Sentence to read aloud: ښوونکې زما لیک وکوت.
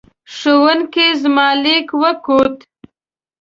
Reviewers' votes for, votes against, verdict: 2, 0, accepted